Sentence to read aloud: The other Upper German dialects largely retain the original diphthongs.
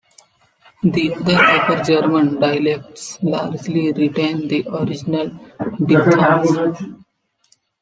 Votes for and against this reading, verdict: 1, 2, rejected